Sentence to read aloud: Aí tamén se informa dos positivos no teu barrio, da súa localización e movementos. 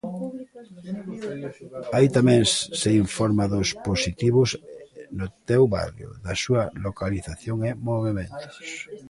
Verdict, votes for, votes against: rejected, 0, 2